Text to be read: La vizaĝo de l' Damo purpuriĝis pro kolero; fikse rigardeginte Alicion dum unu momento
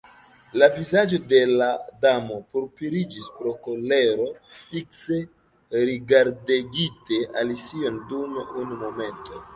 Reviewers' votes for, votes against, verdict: 1, 2, rejected